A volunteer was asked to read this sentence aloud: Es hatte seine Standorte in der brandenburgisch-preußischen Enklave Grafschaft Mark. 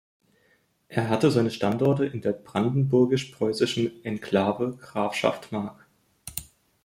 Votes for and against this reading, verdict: 1, 2, rejected